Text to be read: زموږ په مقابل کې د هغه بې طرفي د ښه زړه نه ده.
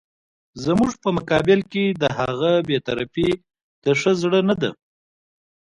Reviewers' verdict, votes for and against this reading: accepted, 2, 0